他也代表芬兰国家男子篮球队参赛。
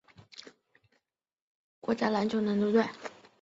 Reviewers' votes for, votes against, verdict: 0, 2, rejected